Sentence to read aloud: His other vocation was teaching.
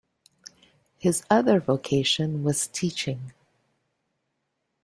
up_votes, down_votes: 2, 0